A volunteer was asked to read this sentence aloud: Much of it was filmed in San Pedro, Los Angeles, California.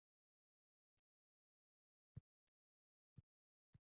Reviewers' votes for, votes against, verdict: 0, 2, rejected